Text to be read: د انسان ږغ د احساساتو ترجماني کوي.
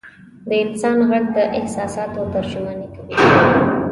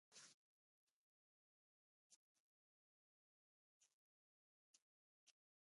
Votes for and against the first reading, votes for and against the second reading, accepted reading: 2, 0, 0, 2, first